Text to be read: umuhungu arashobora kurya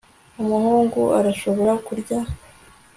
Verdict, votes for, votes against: accepted, 2, 0